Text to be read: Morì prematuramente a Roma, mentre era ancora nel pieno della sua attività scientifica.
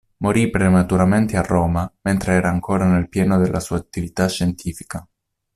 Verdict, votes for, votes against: accepted, 2, 0